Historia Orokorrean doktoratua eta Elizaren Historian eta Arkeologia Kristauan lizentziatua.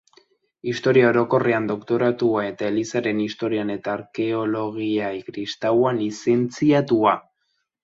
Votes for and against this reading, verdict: 4, 3, accepted